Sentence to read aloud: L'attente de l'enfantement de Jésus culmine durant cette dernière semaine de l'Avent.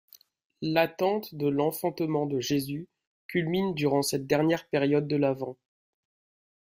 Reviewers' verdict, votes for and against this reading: rejected, 1, 2